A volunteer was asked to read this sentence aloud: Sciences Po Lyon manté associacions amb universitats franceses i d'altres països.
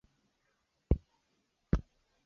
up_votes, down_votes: 1, 2